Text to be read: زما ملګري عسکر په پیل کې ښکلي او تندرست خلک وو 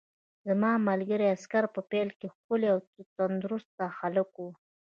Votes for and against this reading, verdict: 2, 3, rejected